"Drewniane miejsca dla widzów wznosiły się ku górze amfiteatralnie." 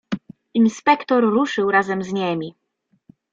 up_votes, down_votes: 0, 2